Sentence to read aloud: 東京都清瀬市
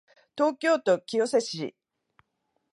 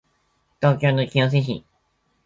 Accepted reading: first